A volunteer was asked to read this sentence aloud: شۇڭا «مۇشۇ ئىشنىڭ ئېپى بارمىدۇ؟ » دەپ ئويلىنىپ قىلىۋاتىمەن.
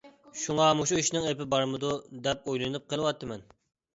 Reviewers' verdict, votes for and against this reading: accepted, 2, 0